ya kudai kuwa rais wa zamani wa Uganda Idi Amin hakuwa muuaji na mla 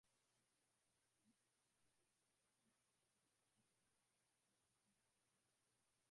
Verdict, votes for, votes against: rejected, 0, 2